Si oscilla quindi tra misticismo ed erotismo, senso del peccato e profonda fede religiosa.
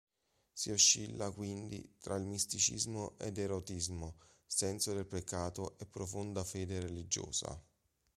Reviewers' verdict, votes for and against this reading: rejected, 2, 3